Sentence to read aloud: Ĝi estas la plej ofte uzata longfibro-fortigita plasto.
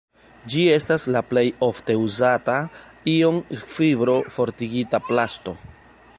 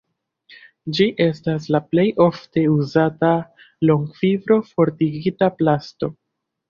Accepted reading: second